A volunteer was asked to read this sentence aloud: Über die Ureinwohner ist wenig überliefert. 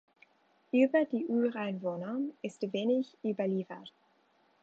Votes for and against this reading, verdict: 2, 1, accepted